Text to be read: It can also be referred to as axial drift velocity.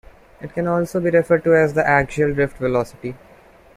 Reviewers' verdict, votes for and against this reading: rejected, 0, 2